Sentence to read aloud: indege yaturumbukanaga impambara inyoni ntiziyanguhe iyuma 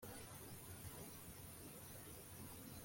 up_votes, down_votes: 0, 2